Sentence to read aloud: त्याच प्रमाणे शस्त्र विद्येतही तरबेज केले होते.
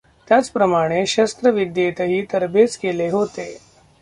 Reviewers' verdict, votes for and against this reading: rejected, 1, 2